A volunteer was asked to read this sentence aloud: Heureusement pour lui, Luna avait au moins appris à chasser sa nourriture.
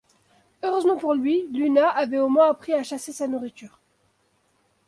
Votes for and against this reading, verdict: 3, 0, accepted